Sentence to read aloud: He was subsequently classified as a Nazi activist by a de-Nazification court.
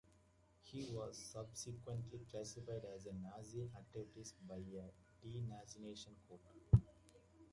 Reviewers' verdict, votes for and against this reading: accepted, 2, 1